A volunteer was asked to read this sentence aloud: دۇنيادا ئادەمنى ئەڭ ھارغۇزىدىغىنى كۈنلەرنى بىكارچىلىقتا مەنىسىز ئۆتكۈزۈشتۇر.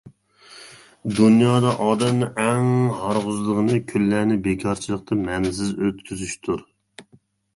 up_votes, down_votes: 2, 1